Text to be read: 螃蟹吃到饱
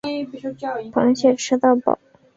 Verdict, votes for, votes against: accepted, 5, 0